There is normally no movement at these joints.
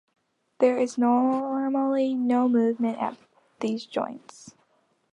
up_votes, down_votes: 1, 2